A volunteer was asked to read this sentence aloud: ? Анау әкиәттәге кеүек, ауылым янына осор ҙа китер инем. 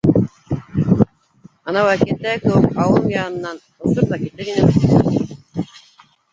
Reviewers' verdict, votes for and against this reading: rejected, 1, 2